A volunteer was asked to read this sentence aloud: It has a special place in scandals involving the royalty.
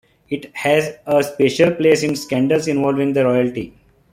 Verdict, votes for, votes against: accepted, 2, 0